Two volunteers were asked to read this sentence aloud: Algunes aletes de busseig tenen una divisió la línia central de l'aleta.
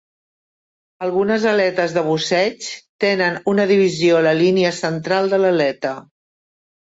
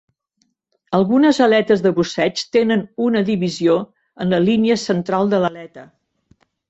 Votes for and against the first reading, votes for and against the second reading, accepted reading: 2, 0, 1, 2, first